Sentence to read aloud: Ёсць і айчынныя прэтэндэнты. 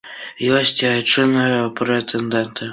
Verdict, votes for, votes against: accepted, 2, 0